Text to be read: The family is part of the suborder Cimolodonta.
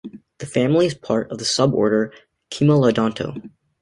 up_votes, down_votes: 1, 2